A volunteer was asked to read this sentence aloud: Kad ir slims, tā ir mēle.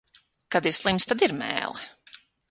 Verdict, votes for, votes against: rejected, 3, 12